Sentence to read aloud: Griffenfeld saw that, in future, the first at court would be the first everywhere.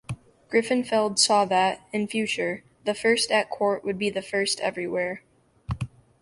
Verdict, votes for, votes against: accepted, 2, 0